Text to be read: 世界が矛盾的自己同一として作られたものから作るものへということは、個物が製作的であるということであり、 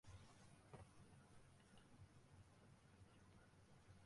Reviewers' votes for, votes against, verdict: 0, 2, rejected